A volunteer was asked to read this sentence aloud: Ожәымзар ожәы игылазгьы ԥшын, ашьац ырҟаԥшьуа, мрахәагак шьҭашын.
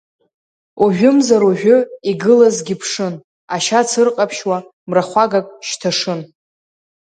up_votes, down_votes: 1, 2